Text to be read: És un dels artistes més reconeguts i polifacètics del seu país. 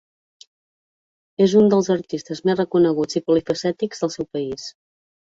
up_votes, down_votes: 2, 0